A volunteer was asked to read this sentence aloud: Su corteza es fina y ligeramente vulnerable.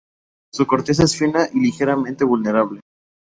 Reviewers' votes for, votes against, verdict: 0, 2, rejected